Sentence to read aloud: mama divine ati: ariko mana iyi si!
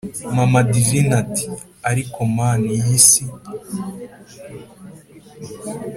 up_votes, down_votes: 3, 0